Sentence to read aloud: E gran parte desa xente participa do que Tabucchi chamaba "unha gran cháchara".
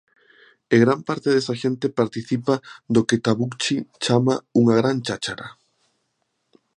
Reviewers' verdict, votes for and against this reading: rejected, 1, 2